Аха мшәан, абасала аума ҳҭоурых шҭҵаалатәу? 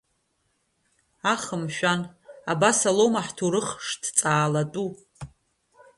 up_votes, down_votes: 2, 0